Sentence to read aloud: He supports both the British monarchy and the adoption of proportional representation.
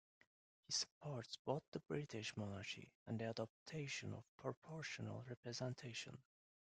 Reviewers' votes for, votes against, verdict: 1, 2, rejected